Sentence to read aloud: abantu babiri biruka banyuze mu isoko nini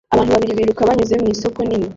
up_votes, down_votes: 1, 2